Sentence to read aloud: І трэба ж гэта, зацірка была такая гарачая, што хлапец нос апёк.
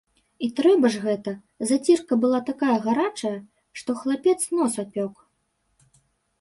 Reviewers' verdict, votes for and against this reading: accepted, 2, 0